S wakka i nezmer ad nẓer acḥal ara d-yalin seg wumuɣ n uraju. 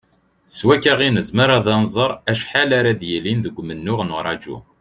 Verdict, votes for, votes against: rejected, 0, 2